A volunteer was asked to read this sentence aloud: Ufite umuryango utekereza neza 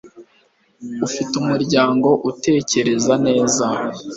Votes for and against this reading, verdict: 2, 0, accepted